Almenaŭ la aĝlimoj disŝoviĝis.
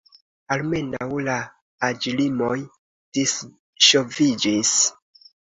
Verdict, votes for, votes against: accepted, 3, 0